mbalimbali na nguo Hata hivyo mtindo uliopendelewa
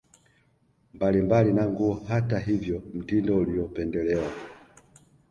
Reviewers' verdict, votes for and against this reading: accepted, 2, 0